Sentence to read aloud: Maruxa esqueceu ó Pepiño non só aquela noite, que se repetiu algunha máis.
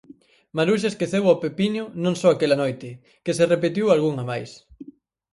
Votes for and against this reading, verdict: 4, 0, accepted